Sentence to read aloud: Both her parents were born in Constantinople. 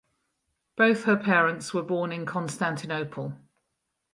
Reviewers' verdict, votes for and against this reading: rejected, 2, 2